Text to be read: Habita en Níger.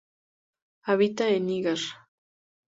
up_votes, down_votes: 0, 2